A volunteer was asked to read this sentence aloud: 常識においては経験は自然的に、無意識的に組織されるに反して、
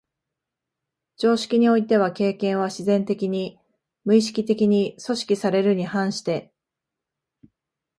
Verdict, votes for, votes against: accepted, 2, 0